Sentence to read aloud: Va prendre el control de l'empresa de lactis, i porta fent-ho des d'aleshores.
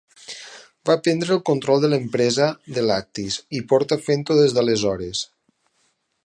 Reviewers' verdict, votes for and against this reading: accepted, 4, 0